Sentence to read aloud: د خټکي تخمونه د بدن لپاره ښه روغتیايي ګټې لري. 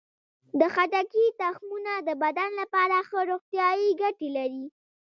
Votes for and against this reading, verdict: 2, 0, accepted